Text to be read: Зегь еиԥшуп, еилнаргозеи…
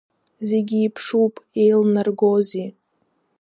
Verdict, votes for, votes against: accepted, 2, 0